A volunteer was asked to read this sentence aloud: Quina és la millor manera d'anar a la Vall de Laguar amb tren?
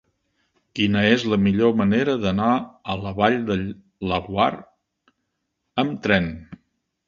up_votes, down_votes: 1, 2